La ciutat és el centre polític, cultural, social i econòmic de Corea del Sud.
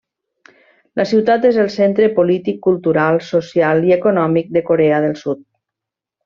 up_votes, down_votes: 3, 0